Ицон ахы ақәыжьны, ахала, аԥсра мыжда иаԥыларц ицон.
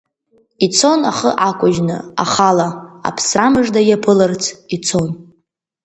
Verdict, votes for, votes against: rejected, 0, 2